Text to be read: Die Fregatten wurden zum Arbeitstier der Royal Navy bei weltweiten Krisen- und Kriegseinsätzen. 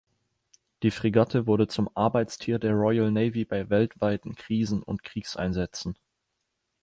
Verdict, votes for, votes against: rejected, 1, 2